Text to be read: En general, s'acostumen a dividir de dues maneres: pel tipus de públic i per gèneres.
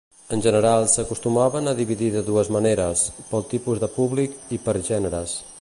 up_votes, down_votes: 1, 2